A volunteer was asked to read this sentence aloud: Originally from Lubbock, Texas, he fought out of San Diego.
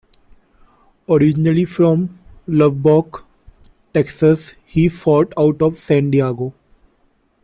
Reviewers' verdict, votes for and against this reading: accepted, 2, 1